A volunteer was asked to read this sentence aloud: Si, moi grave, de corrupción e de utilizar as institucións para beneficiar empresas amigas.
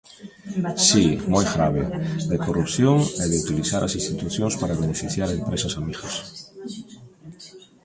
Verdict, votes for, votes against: rejected, 1, 2